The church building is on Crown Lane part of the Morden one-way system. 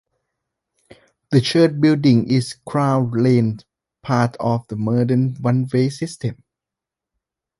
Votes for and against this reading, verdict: 0, 2, rejected